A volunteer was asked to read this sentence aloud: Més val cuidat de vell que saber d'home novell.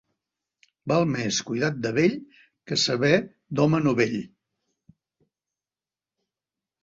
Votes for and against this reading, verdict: 1, 3, rejected